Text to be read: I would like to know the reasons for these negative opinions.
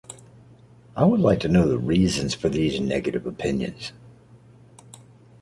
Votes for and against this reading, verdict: 2, 0, accepted